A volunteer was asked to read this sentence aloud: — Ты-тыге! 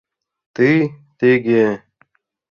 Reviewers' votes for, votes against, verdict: 2, 0, accepted